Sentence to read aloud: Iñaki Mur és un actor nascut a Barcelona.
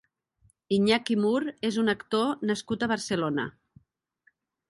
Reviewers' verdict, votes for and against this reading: accepted, 3, 0